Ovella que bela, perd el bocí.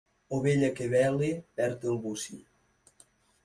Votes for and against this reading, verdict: 1, 2, rejected